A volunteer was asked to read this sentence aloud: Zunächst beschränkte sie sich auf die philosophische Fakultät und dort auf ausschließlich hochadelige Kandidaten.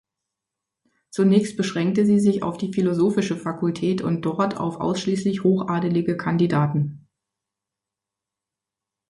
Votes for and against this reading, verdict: 2, 0, accepted